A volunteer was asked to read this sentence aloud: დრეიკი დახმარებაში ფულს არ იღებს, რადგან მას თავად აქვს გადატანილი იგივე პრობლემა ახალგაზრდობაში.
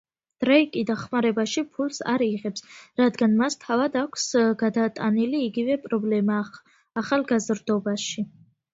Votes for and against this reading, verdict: 2, 1, accepted